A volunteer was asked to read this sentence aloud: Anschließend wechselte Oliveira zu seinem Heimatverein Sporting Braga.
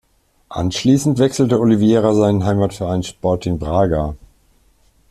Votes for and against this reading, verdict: 1, 2, rejected